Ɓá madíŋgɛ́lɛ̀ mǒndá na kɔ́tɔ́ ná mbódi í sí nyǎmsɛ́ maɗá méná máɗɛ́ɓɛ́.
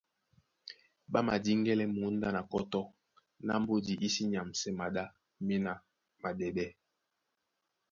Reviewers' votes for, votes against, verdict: 1, 2, rejected